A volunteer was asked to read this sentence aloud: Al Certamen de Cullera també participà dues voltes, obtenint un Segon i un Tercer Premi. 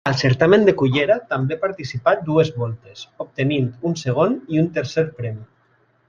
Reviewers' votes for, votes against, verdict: 2, 0, accepted